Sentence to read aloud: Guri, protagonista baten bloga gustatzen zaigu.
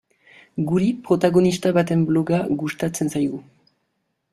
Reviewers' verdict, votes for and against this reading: accepted, 2, 0